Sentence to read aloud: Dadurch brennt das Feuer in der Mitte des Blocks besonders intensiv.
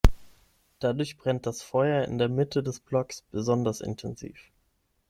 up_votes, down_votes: 6, 0